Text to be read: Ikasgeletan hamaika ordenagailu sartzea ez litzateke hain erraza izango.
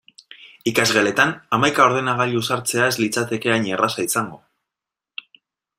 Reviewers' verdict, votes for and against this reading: accepted, 2, 0